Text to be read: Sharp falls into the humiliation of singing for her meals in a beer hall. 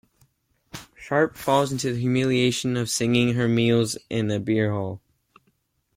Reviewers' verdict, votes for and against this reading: rejected, 1, 2